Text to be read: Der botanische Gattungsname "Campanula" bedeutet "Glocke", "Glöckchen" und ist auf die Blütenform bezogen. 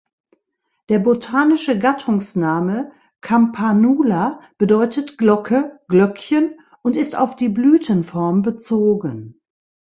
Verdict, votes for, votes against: accepted, 2, 0